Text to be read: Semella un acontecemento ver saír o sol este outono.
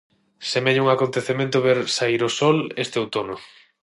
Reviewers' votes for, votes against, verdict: 6, 0, accepted